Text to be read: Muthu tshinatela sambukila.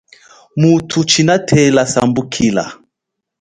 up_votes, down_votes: 2, 0